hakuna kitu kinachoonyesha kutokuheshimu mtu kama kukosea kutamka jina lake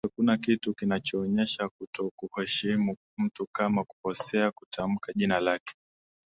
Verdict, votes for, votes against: accepted, 4, 1